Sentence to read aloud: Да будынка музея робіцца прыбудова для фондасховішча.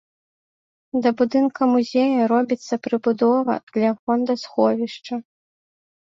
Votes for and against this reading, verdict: 2, 0, accepted